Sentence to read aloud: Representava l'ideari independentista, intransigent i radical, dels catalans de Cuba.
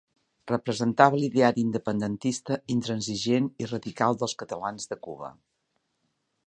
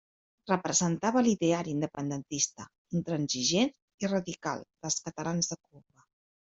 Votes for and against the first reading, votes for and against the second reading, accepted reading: 2, 0, 1, 2, first